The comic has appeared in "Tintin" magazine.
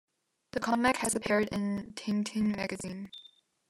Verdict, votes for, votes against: rejected, 0, 2